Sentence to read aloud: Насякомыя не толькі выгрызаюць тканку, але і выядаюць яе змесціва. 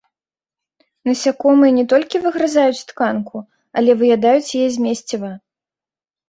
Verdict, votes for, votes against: accepted, 2, 0